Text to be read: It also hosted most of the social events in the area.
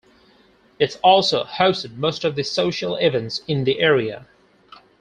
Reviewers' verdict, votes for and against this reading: accepted, 4, 2